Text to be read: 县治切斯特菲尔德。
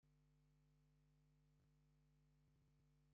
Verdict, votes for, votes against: rejected, 0, 2